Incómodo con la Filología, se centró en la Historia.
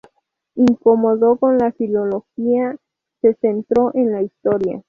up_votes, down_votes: 0, 2